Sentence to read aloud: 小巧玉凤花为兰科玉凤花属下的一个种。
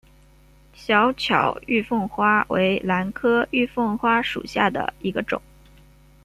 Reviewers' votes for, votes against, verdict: 2, 0, accepted